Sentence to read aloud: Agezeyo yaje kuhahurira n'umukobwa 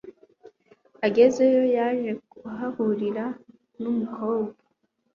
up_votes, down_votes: 2, 1